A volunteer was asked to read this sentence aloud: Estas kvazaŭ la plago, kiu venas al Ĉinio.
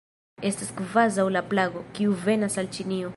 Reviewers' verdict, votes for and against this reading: rejected, 1, 2